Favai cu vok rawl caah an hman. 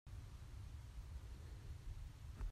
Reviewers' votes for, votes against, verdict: 0, 2, rejected